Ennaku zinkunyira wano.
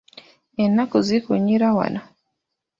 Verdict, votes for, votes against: rejected, 0, 2